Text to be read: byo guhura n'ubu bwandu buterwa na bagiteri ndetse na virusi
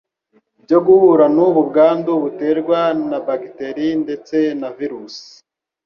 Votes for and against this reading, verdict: 2, 0, accepted